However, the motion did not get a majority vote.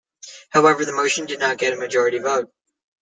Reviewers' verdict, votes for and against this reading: rejected, 1, 2